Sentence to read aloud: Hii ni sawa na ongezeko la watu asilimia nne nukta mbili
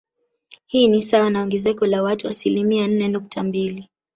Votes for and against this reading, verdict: 2, 0, accepted